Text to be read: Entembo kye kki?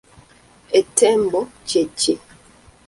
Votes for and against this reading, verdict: 1, 2, rejected